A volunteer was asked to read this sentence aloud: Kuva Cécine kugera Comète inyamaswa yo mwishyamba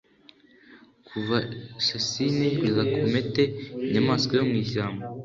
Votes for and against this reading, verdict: 2, 0, accepted